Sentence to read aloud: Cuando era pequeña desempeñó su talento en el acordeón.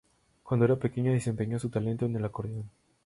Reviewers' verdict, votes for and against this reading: rejected, 0, 2